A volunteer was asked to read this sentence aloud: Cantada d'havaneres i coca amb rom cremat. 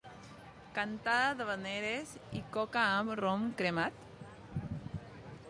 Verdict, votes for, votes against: accepted, 2, 0